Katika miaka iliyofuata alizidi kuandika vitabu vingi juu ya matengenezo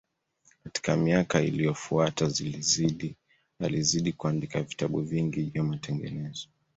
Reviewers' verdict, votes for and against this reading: rejected, 0, 2